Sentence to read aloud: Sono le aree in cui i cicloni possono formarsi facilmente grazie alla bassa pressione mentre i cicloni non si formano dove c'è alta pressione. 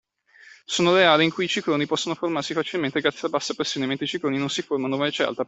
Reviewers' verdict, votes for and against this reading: rejected, 0, 2